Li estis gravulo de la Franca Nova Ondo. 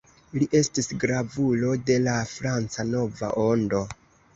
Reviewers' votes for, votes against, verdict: 2, 0, accepted